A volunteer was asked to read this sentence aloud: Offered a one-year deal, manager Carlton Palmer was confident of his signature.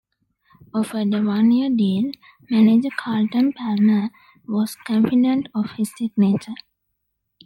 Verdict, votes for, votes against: accepted, 2, 1